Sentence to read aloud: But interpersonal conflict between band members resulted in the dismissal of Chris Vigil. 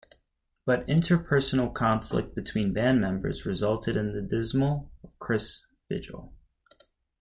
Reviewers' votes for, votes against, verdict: 1, 2, rejected